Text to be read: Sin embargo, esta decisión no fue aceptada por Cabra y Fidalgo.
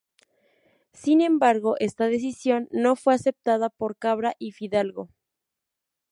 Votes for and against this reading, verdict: 2, 0, accepted